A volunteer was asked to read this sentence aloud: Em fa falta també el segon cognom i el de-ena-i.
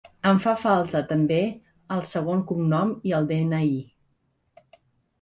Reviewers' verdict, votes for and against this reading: accepted, 2, 0